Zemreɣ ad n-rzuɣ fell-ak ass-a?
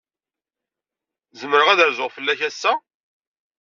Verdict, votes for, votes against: rejected, 1, 2